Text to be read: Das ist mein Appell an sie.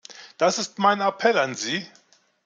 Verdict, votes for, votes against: accepted, 2, 0